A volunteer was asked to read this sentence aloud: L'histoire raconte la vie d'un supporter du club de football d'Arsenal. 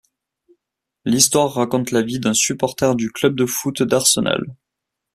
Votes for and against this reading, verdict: 0, 2, rejected